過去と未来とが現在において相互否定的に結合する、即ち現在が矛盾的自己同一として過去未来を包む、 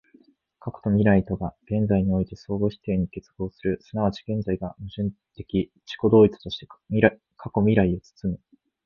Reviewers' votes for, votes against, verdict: 1, 2, rejected